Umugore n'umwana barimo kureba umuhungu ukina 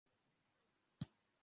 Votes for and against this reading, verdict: 0, 2, rejected